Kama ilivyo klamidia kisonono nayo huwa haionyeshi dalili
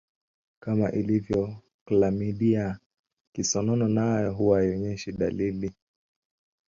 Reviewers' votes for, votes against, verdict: 2, 0, accepted